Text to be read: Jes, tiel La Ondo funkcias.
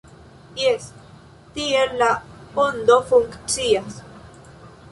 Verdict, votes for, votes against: accepted, 2, 0